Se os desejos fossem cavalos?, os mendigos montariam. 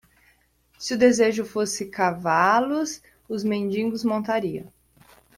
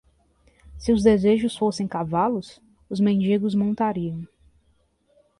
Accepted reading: second